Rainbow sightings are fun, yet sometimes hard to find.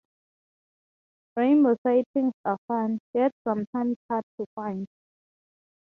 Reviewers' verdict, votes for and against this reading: accepted, 6, 0